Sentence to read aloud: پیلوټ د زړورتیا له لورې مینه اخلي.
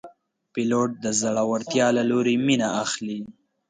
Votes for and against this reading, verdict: 2, 0, accepted